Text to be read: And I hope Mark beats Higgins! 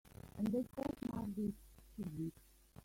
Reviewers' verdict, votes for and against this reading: rejected, 1, 2